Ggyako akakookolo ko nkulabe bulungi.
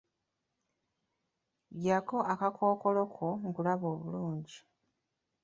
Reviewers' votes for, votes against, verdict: 1, 2, rejected